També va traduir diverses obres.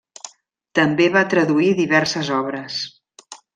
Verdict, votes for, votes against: accepted, 3, 1